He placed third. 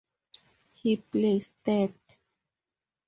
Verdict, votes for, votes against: accepted, 2, 0